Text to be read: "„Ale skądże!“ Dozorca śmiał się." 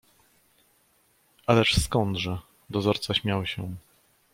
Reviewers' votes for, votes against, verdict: 1, 2, rejected